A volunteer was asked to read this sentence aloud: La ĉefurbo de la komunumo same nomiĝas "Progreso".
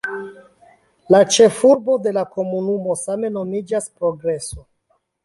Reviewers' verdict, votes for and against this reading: accepted, 2, 0